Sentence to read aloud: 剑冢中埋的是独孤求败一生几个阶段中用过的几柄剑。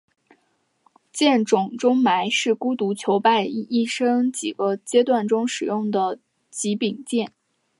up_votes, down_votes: 3, 1